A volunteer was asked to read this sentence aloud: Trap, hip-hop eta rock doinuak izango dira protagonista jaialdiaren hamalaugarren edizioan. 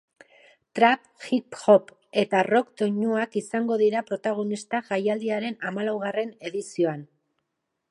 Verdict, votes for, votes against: accepted, 6, 2